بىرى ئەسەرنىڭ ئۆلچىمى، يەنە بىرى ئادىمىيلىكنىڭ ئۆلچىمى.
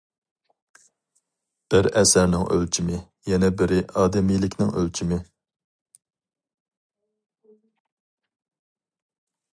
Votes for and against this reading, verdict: 2, 2, rejected